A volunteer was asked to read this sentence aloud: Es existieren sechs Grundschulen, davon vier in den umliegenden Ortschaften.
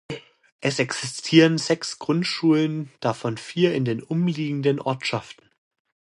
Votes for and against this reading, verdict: 2, 0, accepted